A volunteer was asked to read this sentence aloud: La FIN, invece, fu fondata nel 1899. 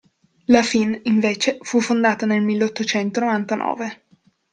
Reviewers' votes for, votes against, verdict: 0, 2, rejected